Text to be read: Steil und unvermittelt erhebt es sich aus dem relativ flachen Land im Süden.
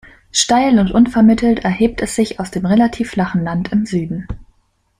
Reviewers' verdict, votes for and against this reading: accepted, 2, 0